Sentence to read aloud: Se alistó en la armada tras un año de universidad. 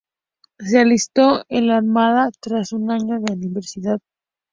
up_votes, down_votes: 2, 0